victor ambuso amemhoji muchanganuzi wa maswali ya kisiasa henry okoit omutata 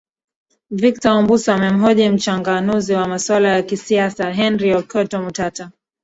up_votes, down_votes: 0, 2